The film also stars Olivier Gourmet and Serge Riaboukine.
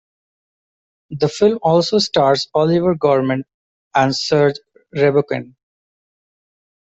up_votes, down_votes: 2, 1